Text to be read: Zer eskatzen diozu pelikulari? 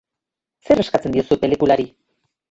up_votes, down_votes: 6, 0